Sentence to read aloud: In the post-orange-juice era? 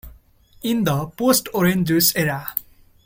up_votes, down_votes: 2, 0